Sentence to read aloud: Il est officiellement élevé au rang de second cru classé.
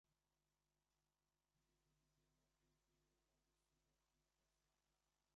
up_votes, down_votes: 0, 2